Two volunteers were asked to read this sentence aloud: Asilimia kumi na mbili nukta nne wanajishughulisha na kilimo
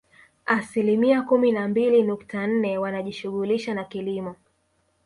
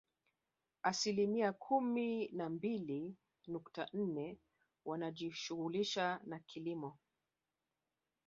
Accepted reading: second